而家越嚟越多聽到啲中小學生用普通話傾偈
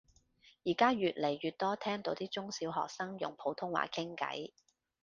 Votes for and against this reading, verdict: 3, 0, accepted